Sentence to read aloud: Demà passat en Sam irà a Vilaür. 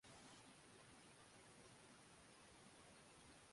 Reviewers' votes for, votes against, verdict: 0, 2, rejected